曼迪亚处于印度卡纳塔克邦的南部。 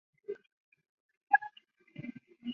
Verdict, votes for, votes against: rejected, 0, 4